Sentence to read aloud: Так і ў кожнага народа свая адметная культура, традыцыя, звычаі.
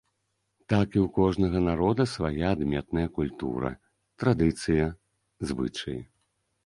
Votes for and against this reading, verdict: 2, 0, accepted